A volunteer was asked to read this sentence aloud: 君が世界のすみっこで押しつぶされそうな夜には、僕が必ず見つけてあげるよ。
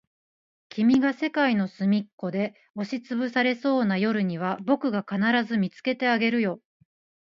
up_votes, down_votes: 0, 2